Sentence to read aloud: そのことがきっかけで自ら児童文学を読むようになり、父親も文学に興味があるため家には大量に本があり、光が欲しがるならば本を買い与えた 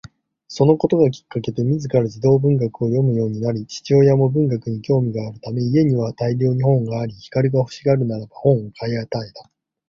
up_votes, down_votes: 2, 0